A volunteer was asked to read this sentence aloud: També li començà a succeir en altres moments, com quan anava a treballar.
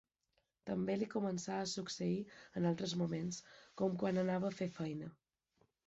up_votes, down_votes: 0, 2